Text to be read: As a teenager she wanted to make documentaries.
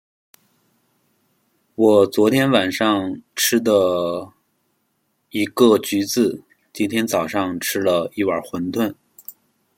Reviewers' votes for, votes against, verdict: 0, 2, rejected